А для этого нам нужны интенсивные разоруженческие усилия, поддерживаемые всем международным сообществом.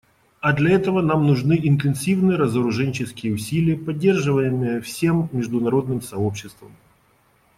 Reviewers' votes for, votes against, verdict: 2, 0, accepted